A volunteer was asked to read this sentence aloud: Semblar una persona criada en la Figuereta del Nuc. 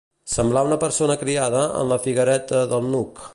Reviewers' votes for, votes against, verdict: 2, 0, accepted